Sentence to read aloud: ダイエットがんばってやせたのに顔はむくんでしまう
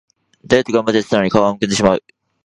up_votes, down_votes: 0, 2